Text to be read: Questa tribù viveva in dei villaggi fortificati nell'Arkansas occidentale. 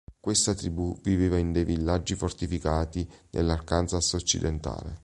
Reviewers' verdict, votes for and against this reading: accepted, 3, 0